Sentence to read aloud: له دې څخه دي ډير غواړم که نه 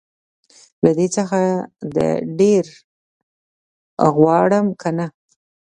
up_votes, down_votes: 2, 0